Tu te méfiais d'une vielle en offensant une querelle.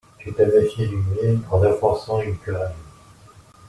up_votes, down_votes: 0, 2